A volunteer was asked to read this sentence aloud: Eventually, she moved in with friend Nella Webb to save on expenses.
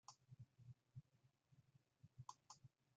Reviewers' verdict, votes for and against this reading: rejected, 0, 2